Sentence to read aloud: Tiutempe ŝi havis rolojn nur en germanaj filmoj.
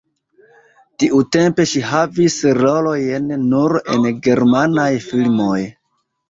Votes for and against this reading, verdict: 1, 2, rejected